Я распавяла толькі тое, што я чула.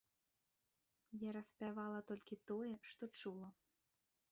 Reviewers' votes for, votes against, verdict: 0, 3, rejected